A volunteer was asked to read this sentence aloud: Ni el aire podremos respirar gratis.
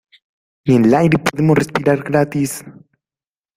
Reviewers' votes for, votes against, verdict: 1, 2, rejected